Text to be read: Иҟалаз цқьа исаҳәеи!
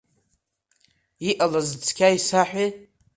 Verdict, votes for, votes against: accepted, 2, 1